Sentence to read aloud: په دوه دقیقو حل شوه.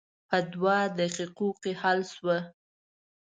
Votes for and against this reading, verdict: 1, 2, rejected